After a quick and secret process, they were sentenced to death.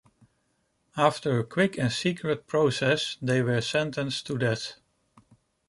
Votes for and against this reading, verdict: 2, 0, accepted